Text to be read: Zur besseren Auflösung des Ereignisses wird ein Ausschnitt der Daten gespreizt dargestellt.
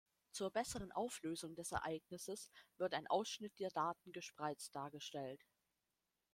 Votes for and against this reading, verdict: 1, 2, rejected